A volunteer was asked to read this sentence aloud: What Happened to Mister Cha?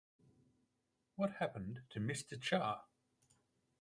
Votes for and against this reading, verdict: 4, 0, accepted